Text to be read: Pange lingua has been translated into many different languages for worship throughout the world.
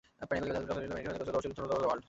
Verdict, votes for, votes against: rejected, 0, 2